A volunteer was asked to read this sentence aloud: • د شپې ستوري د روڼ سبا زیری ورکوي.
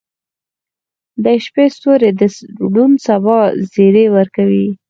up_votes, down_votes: 4, 2